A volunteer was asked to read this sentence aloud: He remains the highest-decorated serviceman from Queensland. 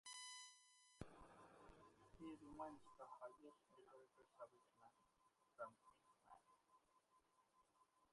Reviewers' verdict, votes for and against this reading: rejected, 1, 3